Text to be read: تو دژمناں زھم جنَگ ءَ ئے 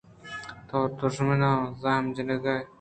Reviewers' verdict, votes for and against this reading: rejected, 0, 2